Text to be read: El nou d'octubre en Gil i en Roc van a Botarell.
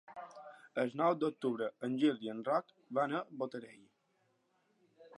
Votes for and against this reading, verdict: 4, 2, accepted